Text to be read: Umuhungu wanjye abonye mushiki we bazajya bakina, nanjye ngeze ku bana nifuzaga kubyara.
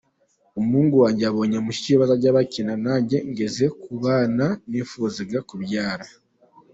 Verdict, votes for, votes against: rejected, 0, 2